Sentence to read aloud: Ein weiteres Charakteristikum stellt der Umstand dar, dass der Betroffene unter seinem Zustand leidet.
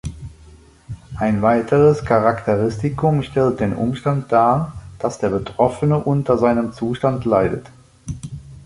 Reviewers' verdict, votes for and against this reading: rejected, 0, 3